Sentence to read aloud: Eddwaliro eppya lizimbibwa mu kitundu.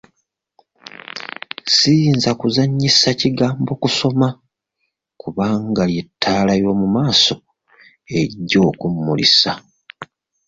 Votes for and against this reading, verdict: 0, 2, rejected